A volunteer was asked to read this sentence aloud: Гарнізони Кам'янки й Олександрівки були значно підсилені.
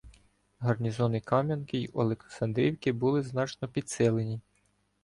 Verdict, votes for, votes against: rejected, 1, 2